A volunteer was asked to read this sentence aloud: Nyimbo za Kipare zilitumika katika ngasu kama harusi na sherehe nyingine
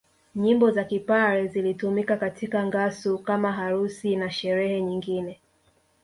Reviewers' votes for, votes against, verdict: 2, 0, accepted